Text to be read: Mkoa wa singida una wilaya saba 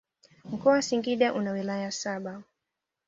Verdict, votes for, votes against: accepted, 2, 0